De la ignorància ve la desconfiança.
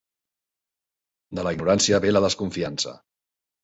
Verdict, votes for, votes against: accepted, 2, 0